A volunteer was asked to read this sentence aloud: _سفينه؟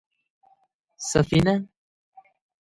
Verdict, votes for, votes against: accepted, 2, 0